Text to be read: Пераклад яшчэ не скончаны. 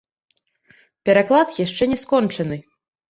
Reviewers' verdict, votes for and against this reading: rejected, 0, 2